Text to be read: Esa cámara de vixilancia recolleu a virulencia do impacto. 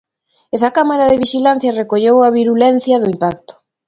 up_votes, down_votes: 2, 0